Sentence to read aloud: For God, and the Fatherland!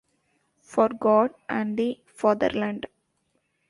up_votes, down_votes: 2, 1